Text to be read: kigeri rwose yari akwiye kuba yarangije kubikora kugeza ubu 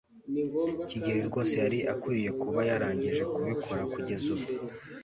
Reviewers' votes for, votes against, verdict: 2, 0, accepted